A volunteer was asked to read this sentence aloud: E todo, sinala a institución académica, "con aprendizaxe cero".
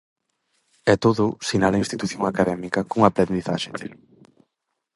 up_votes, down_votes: 2, 2